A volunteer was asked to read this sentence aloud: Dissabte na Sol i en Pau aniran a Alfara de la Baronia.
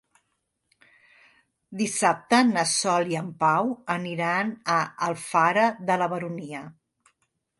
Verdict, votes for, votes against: accepted, 2, 0